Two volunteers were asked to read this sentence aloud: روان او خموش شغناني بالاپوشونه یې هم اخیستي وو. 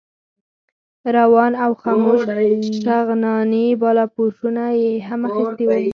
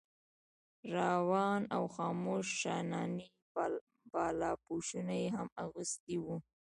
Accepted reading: first